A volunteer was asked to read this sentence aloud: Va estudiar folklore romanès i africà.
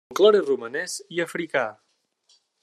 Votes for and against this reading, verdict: 0, 2, rejected